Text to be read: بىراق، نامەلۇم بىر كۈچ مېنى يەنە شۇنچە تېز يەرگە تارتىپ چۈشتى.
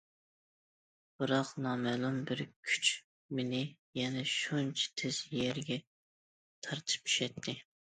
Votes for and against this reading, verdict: 0, 2, rejected